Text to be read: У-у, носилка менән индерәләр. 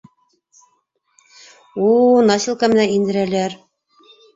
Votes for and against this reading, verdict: 1, 2, rejected